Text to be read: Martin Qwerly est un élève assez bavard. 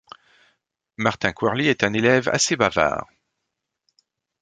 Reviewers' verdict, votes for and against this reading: accepted, 2, 0